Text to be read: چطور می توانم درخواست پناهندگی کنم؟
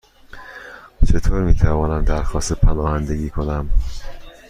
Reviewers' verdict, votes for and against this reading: accepted, 2, 0